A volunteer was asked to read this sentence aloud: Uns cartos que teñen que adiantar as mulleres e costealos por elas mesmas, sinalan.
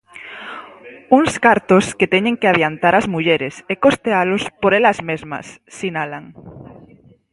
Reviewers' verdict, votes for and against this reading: accepted, 4, 0